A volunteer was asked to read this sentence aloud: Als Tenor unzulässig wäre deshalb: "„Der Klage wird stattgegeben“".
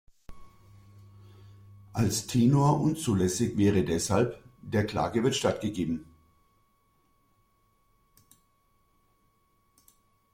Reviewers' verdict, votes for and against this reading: accepted, 2, 0